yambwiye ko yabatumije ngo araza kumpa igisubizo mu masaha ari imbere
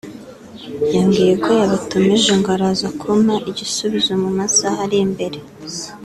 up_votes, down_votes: 2, 1